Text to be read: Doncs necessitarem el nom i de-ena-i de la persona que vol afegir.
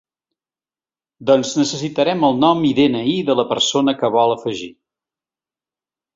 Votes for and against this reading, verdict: 2, 0, accepted